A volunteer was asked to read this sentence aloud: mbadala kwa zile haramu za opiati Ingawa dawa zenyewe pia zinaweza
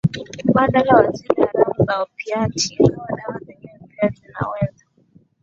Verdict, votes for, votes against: rejected, 0, 2